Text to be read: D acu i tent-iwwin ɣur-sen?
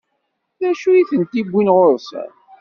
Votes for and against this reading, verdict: 2, 0, accepted